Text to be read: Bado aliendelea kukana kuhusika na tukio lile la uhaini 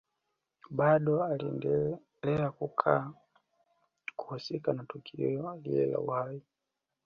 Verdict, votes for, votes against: rejected, 1, 2